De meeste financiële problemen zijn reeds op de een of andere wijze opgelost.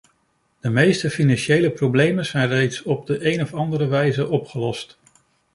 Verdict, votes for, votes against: accepted, 2, 0